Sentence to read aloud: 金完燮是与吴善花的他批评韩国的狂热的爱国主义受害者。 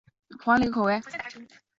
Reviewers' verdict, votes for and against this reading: rejected, 0, 2